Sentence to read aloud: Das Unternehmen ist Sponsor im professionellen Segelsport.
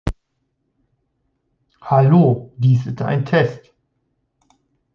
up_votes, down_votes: 0, 2